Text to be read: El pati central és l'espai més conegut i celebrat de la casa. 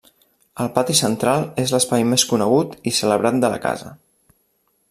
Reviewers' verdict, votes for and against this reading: rejected, 1, 2